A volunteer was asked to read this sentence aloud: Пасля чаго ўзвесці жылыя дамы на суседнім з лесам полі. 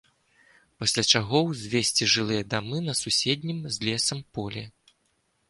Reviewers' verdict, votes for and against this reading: accepted, 2, 0